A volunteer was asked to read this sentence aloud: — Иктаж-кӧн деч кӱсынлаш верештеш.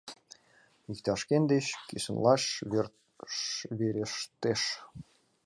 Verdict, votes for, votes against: rejected, 0, 2